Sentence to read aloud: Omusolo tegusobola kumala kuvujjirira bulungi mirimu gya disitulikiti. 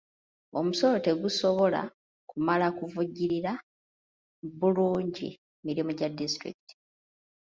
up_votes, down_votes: 2, 0